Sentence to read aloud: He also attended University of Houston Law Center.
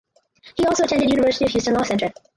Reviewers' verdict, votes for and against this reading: rejected, 2, 4